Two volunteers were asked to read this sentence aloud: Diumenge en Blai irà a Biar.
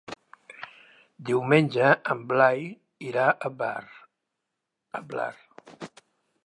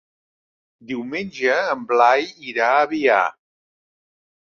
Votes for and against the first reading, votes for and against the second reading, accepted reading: 1, 2, 3, 0, second